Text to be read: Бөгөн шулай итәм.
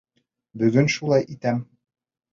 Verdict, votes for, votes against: accepted, 3, 0